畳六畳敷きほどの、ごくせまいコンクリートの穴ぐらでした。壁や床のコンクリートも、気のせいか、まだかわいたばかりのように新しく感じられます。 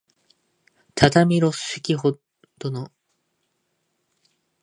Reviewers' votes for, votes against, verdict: 1, 2, rejected